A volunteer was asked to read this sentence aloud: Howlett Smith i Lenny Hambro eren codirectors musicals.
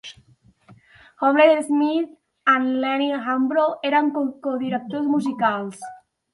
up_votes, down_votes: 1, 2